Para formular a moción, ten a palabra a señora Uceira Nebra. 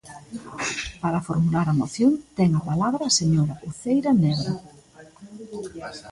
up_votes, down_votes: 0, 2